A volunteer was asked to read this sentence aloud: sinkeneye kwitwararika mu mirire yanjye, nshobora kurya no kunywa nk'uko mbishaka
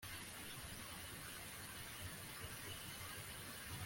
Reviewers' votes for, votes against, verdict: 2, 3, rejected